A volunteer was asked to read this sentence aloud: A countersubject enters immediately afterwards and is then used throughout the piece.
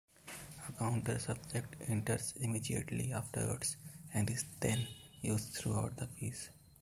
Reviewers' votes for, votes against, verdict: 0, 2, rejected